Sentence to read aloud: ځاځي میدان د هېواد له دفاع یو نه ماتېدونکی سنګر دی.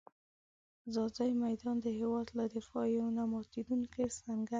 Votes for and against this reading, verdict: 3, 0, accepted